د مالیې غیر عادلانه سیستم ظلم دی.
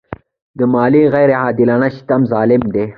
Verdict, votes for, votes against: accepted, 2, 0